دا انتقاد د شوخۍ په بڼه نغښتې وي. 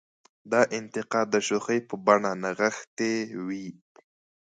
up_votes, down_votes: 0, 2